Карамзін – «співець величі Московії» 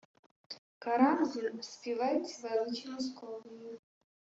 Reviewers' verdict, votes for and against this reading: rejected, 0, 2